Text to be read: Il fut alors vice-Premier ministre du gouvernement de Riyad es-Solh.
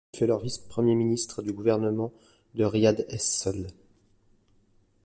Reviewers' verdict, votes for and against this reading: rejected, 1, 2